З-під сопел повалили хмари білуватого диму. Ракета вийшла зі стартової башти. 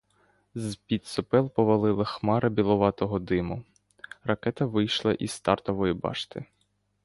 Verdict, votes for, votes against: rejected, 1, 2